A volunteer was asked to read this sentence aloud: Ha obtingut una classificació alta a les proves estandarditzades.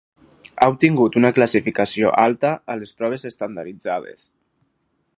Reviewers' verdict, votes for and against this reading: rejected, 2, 4